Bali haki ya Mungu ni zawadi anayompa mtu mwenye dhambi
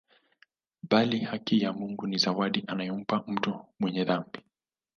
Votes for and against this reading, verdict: 2, 0, accepted